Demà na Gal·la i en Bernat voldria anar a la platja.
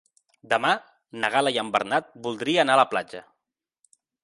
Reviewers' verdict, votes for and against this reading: accepted, 2, 0